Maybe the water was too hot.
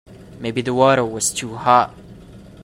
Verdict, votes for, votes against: accepted, 2, 0